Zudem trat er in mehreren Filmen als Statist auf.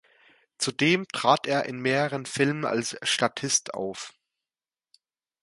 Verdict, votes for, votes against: accepted, 2, 0